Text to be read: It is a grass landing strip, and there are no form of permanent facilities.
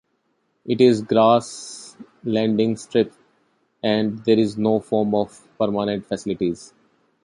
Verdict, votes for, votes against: rejected, 0, 2